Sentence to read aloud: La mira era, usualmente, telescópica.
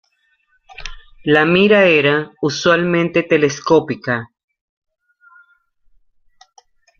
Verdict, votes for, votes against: rejected, 0, 2